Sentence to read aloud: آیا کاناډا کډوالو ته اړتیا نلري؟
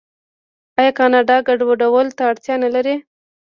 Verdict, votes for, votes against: rejected, 1, 2